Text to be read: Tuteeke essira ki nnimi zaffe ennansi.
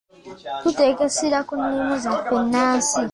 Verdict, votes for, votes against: rejected, 1, 2